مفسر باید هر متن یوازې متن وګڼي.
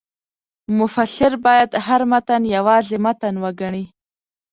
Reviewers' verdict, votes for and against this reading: accepted, 2, 0